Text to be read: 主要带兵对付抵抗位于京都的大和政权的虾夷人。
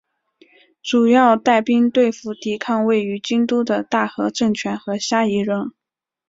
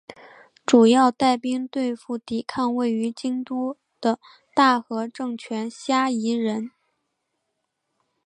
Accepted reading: first